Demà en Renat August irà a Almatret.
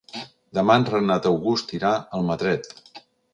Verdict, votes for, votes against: accepted, 2, 0